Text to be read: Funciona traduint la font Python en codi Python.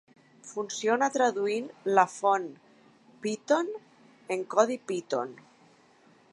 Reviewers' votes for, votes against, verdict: 0, 2, rejected